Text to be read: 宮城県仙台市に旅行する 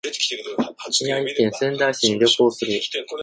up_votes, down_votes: 0, 2